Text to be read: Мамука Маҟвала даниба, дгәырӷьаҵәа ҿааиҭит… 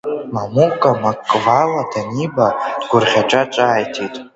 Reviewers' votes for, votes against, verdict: 2, 0, accepted